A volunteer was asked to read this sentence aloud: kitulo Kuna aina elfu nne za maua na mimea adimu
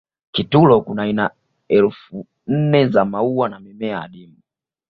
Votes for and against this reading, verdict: 1, 2, rejected